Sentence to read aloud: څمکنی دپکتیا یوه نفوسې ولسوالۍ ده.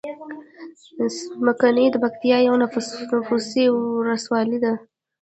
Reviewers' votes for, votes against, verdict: 0, 2, rejected